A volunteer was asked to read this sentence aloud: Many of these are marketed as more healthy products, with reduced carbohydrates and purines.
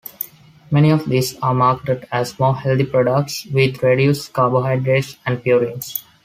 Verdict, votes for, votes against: rejected, 1, 2